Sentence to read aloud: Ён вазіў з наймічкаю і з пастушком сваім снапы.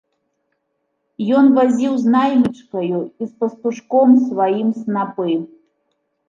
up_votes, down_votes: 1, 2